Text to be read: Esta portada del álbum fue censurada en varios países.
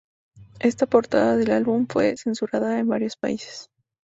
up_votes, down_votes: 2, 0